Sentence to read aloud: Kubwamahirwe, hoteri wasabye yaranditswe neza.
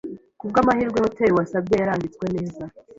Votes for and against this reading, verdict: 2, 0, accepted